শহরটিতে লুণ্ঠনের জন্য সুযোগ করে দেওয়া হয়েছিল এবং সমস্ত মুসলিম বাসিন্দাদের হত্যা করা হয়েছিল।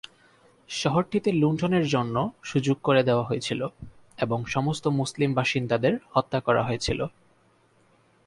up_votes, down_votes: 6, 0